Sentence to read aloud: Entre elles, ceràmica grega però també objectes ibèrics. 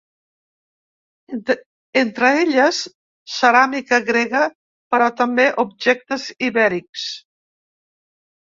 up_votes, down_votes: 1, 2